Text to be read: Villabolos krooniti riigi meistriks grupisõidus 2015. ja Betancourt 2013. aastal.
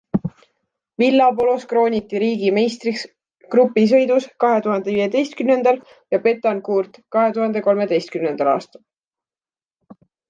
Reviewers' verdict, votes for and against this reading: rejected, 0, 2